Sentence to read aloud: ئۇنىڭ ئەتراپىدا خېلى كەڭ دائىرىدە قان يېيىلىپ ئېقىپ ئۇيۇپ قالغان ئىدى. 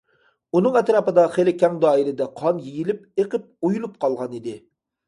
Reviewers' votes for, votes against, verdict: 0, 2, rejected